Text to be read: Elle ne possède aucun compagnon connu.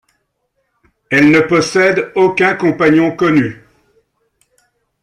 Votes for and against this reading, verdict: 2, 0, accepted